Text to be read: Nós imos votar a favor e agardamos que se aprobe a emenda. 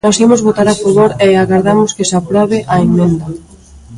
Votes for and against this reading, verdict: 0, 2, rejected